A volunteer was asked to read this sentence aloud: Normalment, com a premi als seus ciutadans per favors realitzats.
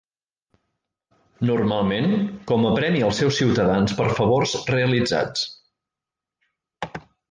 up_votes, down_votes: 2, 0